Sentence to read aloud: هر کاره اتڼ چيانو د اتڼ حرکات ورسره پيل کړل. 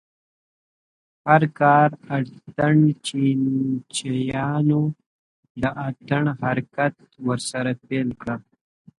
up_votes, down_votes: 1, 2